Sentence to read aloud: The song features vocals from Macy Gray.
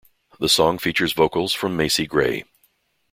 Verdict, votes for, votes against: accepted, 2, 0